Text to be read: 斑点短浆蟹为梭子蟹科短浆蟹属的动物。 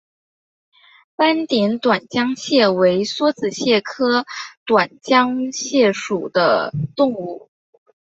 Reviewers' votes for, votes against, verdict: 2, 0, accepted